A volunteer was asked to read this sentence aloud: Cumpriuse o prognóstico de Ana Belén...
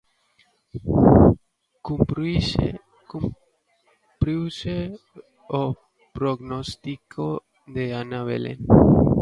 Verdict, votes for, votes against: rejected, 1, 2